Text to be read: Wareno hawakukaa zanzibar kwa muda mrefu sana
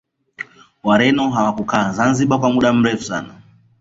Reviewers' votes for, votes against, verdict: 0, 2, rejected